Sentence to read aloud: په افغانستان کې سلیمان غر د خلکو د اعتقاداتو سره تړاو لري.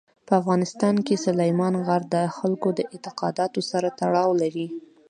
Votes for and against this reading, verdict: 2, 0, accepted